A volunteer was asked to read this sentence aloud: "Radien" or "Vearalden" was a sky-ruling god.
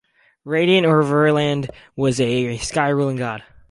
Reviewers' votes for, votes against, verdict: 0, 4, rejected